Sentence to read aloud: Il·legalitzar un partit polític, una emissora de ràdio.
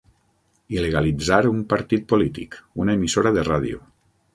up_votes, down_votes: 0, 6